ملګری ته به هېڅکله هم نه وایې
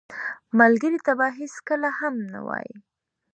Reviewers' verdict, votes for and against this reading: accepted, 3, 1